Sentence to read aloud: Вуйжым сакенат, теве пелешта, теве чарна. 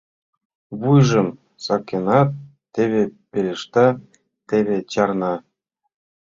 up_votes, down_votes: 2, 0